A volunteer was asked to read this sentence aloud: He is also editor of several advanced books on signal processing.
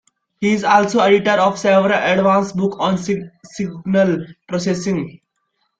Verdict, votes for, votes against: rejected, 0, 2